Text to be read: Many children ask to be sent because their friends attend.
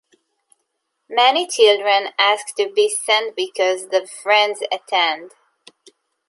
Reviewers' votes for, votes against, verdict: 2, 3, rejected